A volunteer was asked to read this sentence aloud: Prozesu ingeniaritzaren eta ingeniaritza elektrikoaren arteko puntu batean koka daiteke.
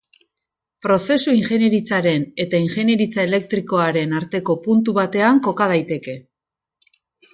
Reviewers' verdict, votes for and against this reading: accepted, 4, 1